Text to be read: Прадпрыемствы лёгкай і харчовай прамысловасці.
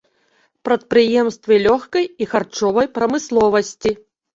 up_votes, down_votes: 3, 0